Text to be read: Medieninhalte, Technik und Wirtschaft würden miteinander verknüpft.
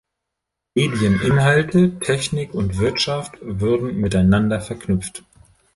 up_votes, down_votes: 1, 2